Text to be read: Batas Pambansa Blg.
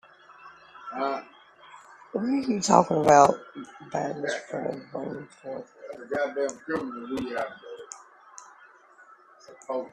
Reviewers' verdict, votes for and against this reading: rejected, 0, 2